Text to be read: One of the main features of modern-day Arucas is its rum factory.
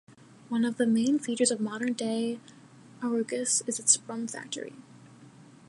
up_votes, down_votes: 2, 0